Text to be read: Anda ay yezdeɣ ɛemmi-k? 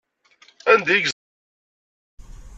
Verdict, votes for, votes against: rejected, 1, 2